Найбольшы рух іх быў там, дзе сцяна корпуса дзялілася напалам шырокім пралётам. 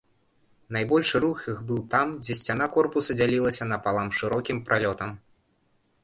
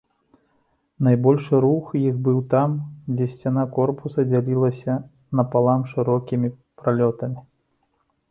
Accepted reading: first